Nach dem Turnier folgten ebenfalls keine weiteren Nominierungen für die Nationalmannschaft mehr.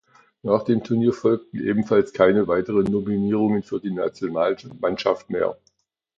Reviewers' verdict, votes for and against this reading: accepted, 2, 0